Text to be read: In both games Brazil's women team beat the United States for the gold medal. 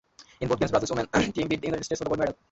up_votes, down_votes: 0, 2